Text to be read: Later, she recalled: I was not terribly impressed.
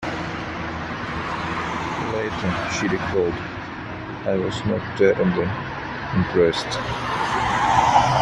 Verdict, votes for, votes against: rejected, 1, 3